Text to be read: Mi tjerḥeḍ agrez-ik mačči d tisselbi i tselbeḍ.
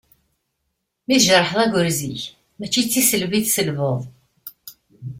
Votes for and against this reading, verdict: 2, 0, accepted